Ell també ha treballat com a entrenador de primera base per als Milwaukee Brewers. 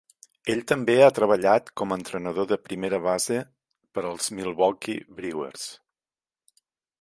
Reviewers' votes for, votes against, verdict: 3, 0, accepted